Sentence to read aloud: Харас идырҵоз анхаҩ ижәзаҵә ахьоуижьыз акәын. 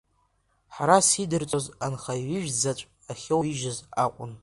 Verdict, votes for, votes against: accepted, 2, 1